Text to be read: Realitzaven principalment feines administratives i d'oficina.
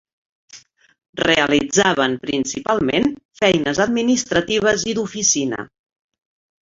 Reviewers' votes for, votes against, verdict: 5, 0, accepted